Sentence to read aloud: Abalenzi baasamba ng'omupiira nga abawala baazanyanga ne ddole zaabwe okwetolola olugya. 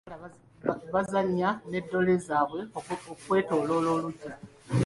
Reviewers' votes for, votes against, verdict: 0, 2, rejected